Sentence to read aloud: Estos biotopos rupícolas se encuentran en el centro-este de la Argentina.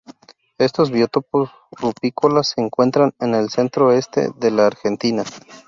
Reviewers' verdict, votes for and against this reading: accepted, 2, 0